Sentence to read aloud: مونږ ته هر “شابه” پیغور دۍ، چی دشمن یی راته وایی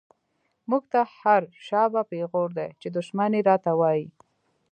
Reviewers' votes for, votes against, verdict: 2, 0, accepted